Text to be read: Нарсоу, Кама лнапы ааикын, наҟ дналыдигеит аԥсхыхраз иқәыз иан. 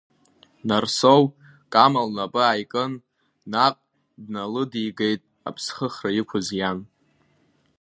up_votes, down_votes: 1, 2